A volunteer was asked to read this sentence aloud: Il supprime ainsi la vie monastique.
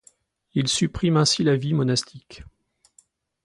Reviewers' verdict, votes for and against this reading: accepted, 2, 0